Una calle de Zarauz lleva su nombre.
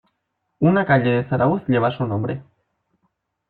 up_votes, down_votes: 1, 2